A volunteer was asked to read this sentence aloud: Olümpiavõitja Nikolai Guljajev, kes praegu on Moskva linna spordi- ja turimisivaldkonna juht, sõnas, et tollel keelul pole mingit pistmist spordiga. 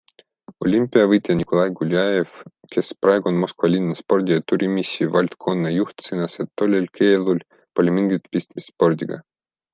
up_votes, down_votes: 0, 2